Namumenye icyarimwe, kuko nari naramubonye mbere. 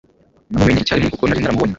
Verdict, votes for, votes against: rejected, 0, 2